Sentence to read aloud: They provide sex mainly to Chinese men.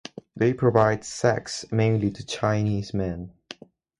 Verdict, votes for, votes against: accepted, 4, 0